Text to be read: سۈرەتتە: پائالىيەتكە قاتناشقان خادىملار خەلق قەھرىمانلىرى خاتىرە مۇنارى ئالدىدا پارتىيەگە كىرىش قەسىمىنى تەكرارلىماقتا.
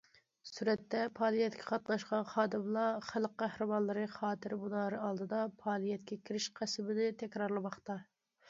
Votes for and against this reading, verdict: 1, 2, rejected